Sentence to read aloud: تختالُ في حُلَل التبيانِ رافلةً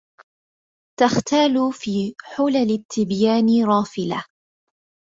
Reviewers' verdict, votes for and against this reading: rejected, 1, 2